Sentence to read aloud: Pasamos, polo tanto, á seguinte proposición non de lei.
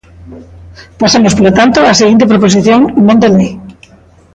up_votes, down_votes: 2, 0